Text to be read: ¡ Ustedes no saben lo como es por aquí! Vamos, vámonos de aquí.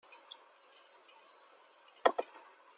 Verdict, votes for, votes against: rejected, 0, 2